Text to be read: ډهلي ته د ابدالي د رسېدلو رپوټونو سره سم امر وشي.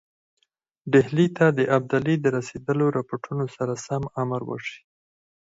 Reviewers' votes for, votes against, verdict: 2, 4, rejected